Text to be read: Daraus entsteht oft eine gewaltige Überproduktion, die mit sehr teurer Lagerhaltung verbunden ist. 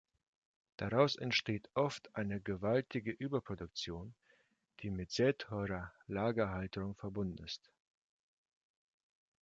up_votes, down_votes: 2, 0